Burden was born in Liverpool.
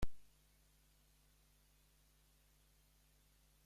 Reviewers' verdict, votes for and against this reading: rejected, 0, 3